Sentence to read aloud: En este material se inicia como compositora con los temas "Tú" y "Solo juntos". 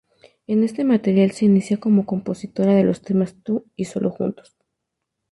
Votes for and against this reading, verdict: 0, 2, rejected